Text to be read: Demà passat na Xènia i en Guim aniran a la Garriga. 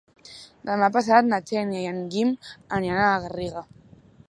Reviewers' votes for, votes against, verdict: 2, 0, accepted